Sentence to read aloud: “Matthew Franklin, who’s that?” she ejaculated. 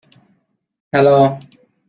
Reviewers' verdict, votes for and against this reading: rejected, 0, 2